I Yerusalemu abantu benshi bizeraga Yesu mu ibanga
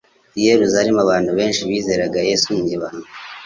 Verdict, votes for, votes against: accepted, 2, 0